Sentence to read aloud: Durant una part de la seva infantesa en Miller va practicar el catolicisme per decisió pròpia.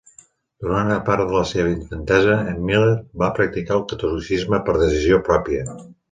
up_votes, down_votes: 2, 0